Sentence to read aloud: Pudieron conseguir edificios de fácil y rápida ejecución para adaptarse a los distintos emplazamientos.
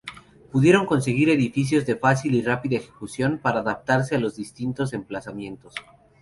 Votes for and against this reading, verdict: 2, 2, rejected